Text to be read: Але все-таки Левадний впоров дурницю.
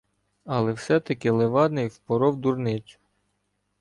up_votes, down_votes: 2, 0